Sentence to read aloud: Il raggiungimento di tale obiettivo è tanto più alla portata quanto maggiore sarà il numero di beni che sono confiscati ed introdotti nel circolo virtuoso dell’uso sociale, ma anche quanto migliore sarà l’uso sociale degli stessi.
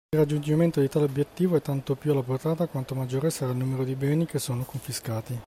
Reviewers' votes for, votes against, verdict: 0, 2, rejected